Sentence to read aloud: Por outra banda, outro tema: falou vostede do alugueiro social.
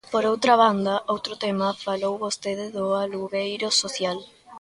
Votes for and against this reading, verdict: 2, 0, accepted